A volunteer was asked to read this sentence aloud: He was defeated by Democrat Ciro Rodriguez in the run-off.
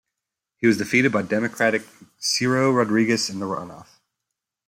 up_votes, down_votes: 1, 2